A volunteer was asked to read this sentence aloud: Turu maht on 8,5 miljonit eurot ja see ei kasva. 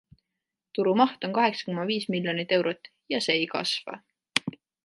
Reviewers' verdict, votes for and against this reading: rejected, 0, 2